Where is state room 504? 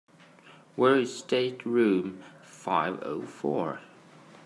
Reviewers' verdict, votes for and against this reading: rejected, 0, 2